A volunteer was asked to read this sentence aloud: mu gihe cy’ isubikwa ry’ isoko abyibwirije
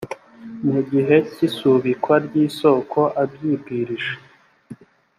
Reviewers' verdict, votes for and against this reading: accepted, 2, 0